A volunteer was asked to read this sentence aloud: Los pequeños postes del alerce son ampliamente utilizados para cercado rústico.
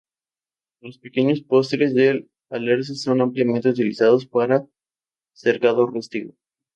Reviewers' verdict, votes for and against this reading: rejected, 0, 2